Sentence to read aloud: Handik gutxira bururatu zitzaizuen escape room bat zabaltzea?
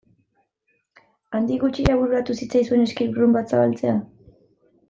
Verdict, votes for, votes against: accepted, 2, 1